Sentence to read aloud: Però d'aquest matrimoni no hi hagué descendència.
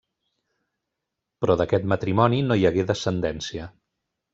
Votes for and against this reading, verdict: 3, 0, accepted